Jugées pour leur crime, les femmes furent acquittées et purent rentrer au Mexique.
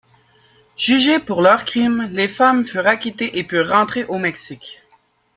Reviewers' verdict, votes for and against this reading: accepted, 2, 1